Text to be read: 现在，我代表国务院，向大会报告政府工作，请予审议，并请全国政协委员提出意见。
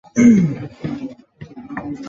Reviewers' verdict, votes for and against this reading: rejected, 0, 3